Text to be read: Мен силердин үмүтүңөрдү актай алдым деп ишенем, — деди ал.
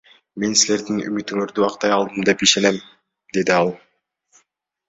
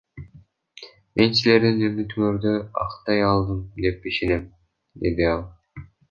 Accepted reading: first